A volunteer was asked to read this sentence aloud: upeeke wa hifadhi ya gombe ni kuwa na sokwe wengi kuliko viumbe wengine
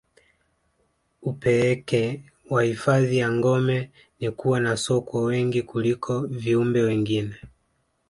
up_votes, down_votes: 2, 0